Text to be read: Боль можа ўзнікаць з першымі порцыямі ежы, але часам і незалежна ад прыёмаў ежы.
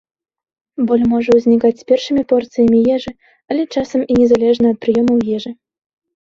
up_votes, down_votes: 2, 0